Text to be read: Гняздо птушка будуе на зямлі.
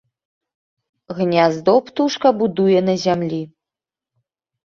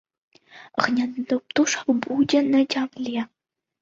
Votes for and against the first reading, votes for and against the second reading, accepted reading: 2, 0, 0, 2, first